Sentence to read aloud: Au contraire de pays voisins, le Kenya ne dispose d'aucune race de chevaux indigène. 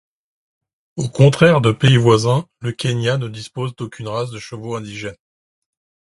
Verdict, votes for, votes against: accepted, 2, 0